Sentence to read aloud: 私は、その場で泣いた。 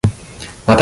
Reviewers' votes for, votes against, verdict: 0, 2, rejected